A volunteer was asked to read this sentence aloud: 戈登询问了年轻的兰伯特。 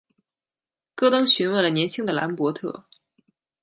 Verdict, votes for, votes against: accepted, 2, 0